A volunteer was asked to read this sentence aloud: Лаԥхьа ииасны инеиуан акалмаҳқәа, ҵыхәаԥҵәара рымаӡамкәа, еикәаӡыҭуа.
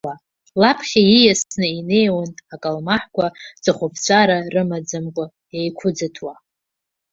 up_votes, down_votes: 1, 2